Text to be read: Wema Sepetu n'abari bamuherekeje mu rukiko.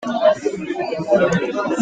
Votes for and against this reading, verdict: 1, 2, rejected